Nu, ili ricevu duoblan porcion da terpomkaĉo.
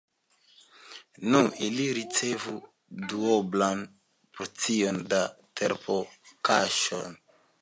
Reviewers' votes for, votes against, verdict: 3, 0, accepted